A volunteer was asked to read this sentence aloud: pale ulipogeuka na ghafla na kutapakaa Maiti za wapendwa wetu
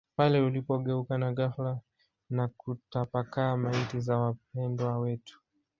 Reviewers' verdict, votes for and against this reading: rejected, 0, 2